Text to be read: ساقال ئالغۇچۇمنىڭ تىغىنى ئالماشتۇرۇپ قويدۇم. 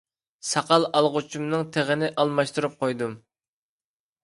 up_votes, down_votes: 2, 0